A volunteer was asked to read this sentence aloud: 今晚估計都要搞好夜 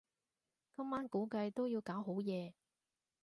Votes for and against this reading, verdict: 2, 0, accepted